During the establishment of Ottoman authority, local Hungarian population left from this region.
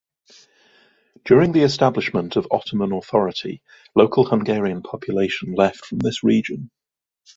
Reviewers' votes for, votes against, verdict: 2, 1, accepted